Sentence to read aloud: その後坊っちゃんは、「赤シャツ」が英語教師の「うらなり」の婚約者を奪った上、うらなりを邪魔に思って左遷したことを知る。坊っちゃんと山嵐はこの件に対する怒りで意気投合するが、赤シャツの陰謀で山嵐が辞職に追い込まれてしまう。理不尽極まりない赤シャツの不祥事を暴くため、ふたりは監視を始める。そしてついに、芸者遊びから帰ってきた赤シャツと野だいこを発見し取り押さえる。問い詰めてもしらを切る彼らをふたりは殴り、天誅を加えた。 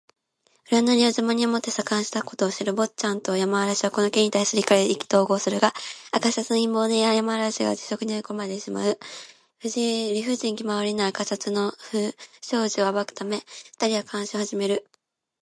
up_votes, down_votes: 0, 2